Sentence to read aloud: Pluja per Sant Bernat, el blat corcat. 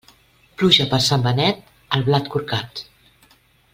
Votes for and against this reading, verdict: 0, 2, rejected